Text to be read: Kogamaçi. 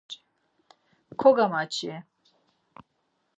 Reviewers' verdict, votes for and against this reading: accepted, 4, 0